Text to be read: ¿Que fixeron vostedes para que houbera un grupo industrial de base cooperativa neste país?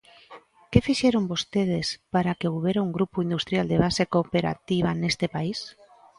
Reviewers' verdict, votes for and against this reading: rejected, 0, 2